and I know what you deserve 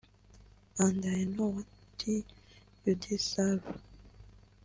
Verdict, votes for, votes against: rejected, 0, 2